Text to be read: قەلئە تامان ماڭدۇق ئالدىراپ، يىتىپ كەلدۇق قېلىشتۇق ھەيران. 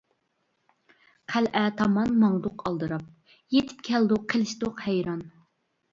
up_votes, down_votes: 2, 0